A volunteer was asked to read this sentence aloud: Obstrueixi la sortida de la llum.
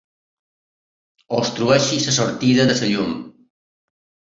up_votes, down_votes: 0, 2